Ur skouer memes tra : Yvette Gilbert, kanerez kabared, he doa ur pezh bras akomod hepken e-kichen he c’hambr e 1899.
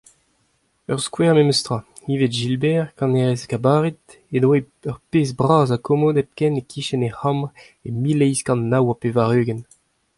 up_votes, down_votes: 0, 2